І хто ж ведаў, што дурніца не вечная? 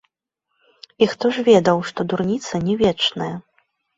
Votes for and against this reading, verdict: 0, 2, rejected